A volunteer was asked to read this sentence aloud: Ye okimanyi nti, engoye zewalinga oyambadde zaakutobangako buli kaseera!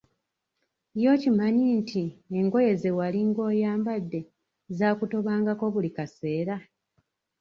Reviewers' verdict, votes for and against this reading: accepted, 2, 1